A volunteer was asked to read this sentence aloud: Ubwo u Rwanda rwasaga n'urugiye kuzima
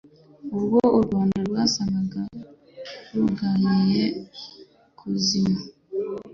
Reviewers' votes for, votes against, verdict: 1, 2, rejected